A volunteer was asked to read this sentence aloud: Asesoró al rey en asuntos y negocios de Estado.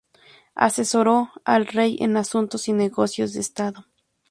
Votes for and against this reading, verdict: 2, 0, accepted